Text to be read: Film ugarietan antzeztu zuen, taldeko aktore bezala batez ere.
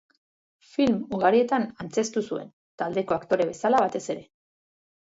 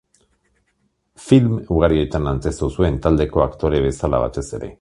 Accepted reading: second